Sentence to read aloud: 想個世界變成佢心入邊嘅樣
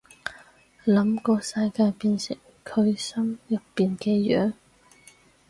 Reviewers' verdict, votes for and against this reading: rejected, 0, 4